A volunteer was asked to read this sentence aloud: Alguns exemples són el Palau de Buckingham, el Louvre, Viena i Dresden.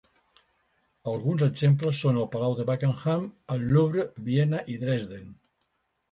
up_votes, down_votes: 2, 1